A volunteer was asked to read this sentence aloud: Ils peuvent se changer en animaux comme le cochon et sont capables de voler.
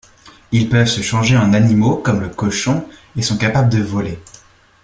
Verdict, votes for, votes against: accepted, 2, 0